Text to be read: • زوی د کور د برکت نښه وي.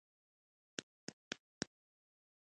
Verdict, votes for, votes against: rejected, 1, 2